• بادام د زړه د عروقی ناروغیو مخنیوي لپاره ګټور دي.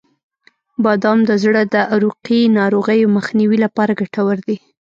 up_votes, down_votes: 2, 0